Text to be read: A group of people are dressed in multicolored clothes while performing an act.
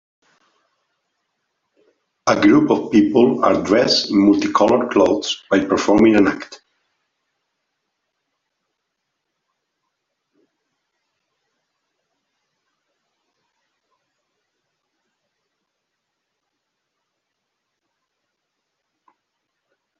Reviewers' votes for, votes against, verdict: 1, 2, rejected